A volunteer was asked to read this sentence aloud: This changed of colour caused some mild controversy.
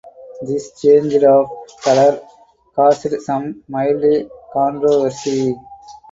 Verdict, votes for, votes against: rejected, 2, 4